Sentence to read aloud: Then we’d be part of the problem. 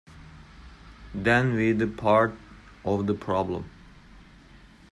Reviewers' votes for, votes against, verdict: 1, 2, rejected